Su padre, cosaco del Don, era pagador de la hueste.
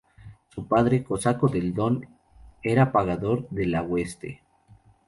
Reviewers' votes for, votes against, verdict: 2, 0, accepted